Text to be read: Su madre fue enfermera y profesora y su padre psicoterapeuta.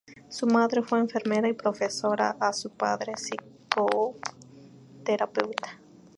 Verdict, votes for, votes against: accepted, 2, 0